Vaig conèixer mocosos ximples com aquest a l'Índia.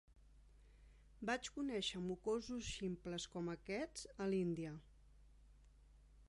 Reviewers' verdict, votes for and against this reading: rejected, 0, 2